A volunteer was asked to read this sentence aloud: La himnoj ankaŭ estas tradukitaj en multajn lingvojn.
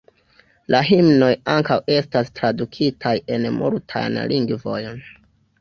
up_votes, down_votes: 1, 2